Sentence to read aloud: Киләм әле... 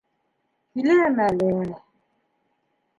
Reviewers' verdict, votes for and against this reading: accepted, 2, 0